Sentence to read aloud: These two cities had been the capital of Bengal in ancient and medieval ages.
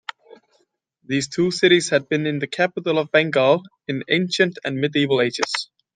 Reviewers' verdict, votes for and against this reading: accepted, 2, 1